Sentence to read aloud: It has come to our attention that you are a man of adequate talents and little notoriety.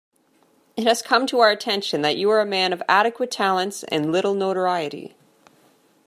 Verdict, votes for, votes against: accepted, 2, 0